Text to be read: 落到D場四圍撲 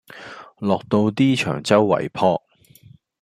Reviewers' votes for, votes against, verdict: 0, 2, rejected